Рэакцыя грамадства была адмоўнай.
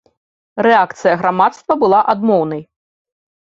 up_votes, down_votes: 2, 0